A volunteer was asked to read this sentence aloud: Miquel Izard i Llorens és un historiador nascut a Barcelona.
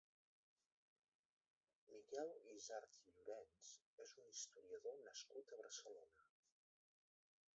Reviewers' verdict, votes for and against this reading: rejected, 0, 2